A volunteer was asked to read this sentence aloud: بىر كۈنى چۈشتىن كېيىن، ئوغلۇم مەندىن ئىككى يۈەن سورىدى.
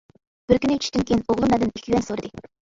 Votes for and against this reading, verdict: 0, 2, rejected